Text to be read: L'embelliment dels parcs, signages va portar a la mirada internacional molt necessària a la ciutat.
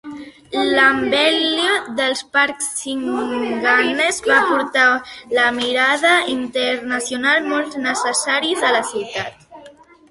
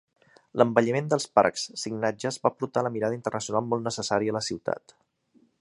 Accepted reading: second